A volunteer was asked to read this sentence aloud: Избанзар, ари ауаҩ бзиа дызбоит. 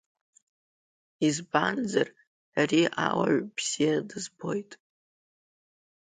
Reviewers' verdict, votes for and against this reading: accepted, 2, 0